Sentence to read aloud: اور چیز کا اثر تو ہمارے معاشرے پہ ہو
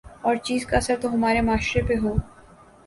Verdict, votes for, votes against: accepted, 2, 0